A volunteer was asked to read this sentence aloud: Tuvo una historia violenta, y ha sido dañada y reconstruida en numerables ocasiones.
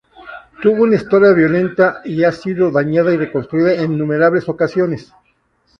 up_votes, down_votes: 0, 2